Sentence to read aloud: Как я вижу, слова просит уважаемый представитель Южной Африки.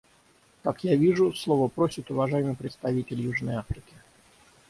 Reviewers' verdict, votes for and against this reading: rejected, 3, 6